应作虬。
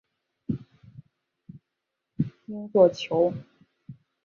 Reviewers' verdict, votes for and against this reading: rejected, 1, 2